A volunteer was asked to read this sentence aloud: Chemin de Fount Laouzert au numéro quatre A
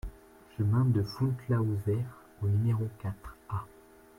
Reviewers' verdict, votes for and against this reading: rejected, 1, 2